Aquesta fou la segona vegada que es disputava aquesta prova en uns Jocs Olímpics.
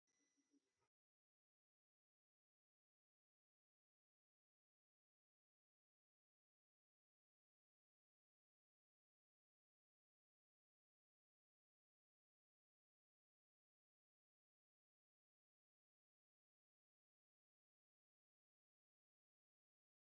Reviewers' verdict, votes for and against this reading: rejected, 0, 2